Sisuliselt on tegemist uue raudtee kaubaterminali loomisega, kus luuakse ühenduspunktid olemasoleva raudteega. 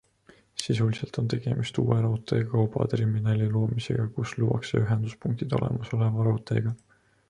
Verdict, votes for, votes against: accepted, 2, 0